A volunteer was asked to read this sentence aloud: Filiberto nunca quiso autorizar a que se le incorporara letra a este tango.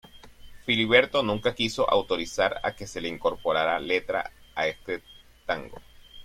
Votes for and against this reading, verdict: 0, 2, rejected